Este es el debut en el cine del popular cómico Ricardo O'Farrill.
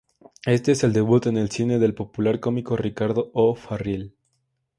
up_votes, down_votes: 2, 0